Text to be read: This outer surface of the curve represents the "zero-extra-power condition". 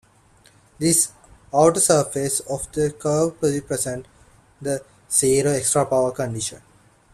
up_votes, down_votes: 2, 1